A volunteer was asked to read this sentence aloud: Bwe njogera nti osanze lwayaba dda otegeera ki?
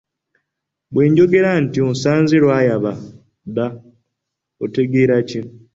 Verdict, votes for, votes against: accepted, 2, 1